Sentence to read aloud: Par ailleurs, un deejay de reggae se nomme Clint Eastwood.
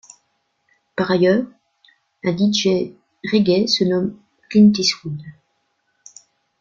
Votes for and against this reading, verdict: 1, 2, rejected